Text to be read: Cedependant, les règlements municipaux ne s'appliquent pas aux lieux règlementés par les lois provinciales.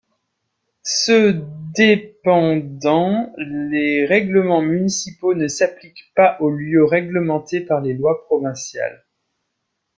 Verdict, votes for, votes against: rejected, 0, 2